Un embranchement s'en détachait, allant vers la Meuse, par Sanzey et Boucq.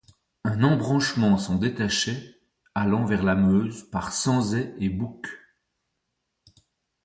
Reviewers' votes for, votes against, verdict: 2, 0, accepted